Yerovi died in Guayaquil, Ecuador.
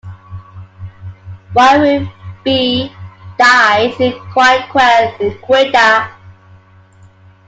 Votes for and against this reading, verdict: 1, 2, rejected